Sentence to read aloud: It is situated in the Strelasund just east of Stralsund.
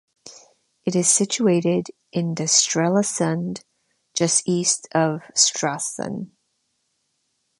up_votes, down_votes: 2, 0